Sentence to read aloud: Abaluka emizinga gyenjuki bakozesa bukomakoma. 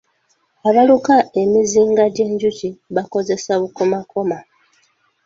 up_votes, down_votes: 3, 0